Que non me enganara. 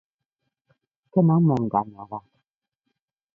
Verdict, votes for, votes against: rejected, 0, 2